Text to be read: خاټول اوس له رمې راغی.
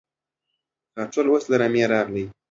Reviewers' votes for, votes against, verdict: 2, 0, accepted